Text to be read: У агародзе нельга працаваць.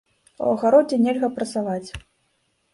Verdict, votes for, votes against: accepted, 2, 0